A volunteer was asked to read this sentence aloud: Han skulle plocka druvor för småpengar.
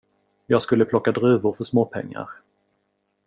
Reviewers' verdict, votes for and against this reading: rejected, 0, 2